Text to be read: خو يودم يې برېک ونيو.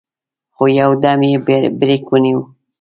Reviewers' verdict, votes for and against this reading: accepted, 2, 0